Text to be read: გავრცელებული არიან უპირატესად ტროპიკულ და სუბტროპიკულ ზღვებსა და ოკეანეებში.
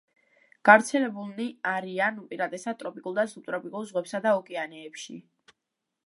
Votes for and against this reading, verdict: 1, 2, rejected